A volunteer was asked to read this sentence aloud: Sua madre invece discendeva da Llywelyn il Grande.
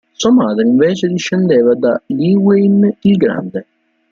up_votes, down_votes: 2, 0